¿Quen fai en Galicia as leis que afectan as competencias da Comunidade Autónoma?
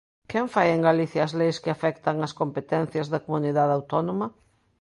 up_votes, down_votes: 2, 0